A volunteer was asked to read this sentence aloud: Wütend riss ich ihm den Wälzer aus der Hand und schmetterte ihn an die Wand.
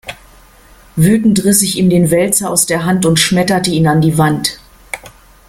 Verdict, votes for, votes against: accepted, 2, 0